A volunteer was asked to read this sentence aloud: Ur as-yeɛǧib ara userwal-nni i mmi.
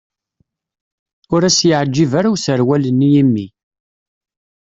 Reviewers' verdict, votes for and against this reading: accepted, 2, 0